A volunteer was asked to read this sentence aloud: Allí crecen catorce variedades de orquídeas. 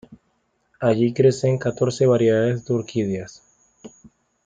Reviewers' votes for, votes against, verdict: 2, 0, accepted